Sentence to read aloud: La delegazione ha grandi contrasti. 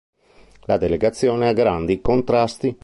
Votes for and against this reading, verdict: 2, 0, accepted